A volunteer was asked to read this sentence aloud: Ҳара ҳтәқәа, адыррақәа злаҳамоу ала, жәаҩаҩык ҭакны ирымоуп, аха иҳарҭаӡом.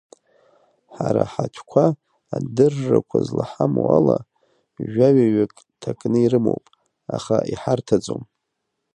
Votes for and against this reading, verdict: 1, 2, rejected